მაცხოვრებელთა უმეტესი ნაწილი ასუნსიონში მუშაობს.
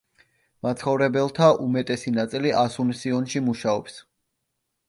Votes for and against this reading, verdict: 2, 0, accepted